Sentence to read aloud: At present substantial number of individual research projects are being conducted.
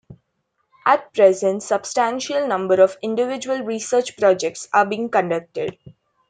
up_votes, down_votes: 2, 1